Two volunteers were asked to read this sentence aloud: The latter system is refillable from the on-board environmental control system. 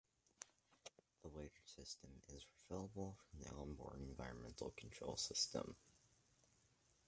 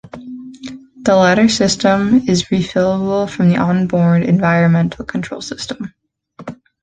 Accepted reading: second